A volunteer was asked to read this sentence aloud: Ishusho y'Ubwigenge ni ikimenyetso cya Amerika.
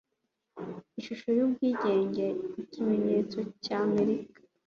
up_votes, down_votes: 2, 0